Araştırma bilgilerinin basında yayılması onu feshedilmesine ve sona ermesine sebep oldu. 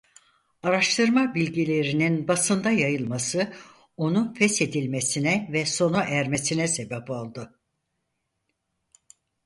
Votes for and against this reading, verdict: 4, 0, accepted